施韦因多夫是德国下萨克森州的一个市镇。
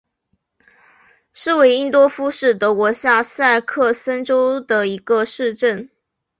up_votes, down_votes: 2, 1